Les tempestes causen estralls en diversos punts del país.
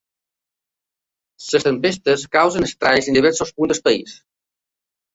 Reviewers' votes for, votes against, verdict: 0, 2, rejected